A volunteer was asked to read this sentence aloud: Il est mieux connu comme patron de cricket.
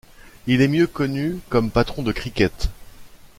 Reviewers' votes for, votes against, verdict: 2, 0, accepted